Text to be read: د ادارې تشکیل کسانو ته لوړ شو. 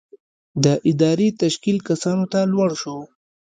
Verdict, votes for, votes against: accepted, 2, 0